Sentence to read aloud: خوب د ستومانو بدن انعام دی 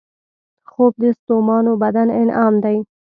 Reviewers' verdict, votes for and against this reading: accepted, 2, 0